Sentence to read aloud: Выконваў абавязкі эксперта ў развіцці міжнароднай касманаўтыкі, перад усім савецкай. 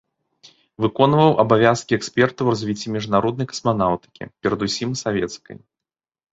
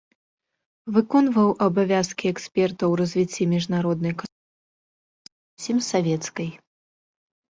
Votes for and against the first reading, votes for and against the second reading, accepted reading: 3, 0, 0, 2, first